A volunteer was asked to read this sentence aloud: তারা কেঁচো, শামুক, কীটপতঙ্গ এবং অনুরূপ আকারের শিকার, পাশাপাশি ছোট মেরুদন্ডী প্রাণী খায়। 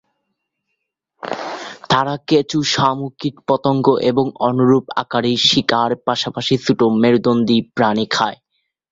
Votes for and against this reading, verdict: 0, 2, rejected